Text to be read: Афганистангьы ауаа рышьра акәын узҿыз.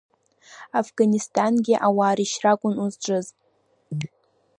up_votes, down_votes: 0, 2